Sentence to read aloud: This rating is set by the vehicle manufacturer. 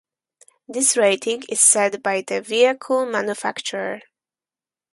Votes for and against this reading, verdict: 2, 2, rejected